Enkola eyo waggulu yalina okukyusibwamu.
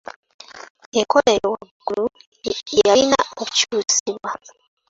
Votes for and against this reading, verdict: 0, 2, rejected